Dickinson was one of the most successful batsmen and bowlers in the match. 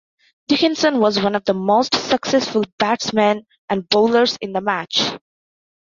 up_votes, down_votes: 2, 0